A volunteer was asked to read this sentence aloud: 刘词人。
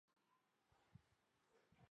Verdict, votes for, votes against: rejected, 1, 2